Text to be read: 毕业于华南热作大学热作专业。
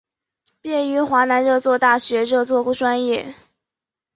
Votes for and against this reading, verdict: 5, 0, accepted